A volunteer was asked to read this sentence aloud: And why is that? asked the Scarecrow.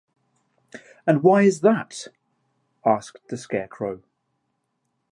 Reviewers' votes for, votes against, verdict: 2, 1, accepted